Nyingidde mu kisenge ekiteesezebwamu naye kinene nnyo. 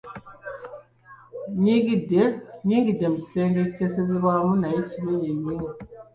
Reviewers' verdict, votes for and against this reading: accepted, 2, 1